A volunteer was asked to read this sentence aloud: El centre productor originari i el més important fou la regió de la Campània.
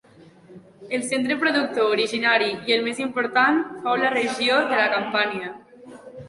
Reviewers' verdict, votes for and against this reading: accepted, 2, 0